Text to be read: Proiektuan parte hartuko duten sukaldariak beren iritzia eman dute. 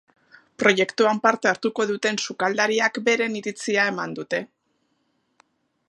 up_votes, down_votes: 2, 0